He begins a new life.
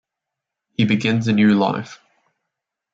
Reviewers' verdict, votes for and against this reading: accepted, 2, 0